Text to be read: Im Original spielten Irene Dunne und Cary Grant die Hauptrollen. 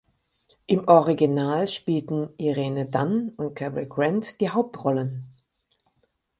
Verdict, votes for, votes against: accepted, 6, 0